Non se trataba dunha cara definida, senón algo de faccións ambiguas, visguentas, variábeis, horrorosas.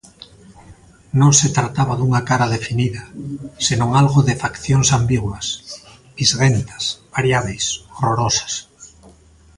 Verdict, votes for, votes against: accepted, 2, 0